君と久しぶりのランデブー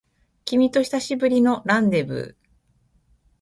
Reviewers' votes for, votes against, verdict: 8, 1, accepted